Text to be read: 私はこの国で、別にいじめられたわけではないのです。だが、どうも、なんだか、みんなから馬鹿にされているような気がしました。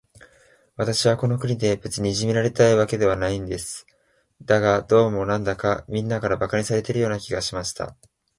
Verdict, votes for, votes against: rejected, 0, 2